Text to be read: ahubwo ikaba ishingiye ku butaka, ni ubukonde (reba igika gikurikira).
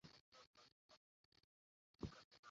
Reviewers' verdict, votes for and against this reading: rejected, 0, 2